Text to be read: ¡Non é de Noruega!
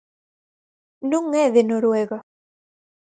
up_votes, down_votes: 4, 0